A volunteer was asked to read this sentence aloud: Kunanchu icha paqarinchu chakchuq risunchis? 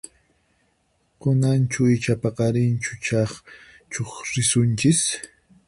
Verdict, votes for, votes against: rejected, 2, 4